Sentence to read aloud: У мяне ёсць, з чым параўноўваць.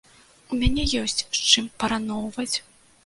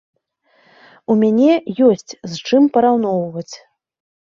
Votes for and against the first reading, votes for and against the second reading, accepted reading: 0, 2, 2, 0, second